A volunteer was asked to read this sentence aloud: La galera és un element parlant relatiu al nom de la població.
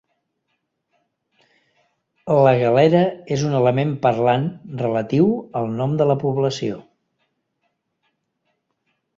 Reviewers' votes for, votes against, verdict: 3, 0, accepted